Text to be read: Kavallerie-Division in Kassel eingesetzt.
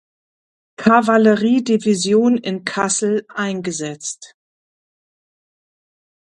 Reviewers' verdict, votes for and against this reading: accepted, 2, 1